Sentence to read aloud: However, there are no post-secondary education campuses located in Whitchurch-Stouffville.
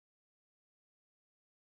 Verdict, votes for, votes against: rejected, 0, 3